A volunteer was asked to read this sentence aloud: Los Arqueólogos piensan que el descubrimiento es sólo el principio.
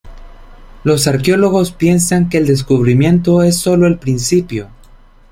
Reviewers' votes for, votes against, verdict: 2, 0, accepted